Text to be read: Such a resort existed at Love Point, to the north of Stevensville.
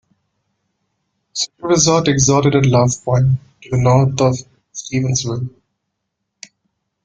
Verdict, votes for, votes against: rejected, 1, 2